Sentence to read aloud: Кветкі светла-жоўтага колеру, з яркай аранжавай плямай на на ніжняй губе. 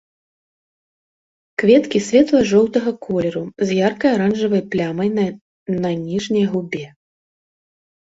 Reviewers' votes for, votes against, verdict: 0, 2, rejected